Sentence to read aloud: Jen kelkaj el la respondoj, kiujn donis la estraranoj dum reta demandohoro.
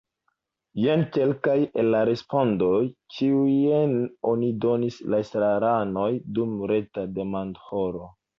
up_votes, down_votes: 0, 2